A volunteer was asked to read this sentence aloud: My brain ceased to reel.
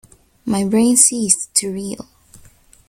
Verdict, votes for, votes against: accepted, 2, 0